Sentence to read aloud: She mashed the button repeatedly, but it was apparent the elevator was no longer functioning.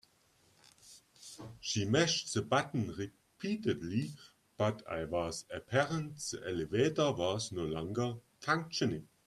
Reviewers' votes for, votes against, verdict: 2, 3, rejected